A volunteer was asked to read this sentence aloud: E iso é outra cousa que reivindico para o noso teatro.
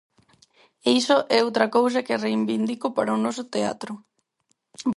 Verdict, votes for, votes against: rejected, 0, 4